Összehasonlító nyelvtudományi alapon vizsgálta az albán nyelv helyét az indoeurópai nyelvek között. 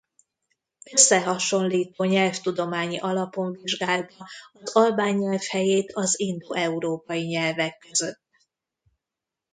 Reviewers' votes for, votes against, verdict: 1, 2, rejected